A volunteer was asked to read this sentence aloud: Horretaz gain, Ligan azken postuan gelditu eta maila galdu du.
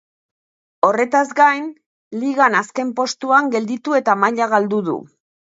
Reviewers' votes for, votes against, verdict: 2, 0, accepted